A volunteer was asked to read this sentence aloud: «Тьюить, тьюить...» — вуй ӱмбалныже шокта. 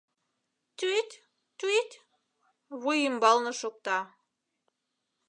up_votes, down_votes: 1, 2